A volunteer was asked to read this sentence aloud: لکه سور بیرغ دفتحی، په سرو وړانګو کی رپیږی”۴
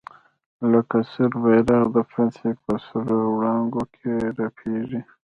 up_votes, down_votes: 0, 2